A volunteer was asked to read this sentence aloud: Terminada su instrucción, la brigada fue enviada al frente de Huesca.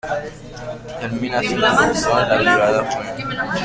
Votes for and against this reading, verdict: 0, 2, rejected